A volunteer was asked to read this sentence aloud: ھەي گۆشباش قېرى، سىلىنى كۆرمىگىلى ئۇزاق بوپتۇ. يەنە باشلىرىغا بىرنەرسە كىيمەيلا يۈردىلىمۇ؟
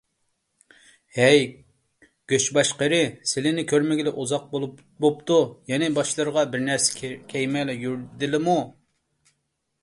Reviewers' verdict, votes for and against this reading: rejected, 0, 2